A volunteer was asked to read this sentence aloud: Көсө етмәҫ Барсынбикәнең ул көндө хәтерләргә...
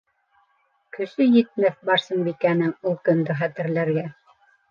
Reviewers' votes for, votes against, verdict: 0, 2, rejected